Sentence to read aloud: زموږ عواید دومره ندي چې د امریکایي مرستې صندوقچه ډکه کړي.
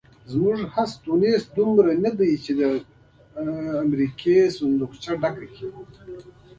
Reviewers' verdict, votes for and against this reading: rejected, 1, 2